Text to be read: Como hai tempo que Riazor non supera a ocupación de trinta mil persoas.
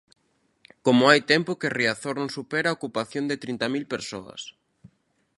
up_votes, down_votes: 2, 0